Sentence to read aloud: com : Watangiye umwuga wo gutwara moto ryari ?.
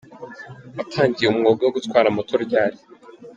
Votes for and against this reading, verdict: 0, 2, rejected